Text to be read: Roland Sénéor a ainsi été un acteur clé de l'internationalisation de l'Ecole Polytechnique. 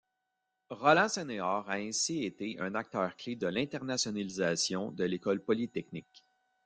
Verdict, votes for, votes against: rejected, 0, 2